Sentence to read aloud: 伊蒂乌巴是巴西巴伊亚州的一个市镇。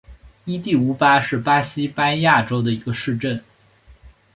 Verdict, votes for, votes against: accepted, 2, 0